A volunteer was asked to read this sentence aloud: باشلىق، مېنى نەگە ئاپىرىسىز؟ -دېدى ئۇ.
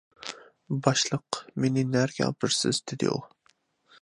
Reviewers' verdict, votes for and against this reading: accepted, 2, 0